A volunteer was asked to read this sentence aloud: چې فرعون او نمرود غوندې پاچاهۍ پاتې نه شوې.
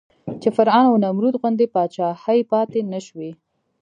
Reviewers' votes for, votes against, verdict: 2, 0, accepted